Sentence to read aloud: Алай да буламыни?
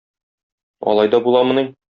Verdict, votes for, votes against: accepted, 2, 0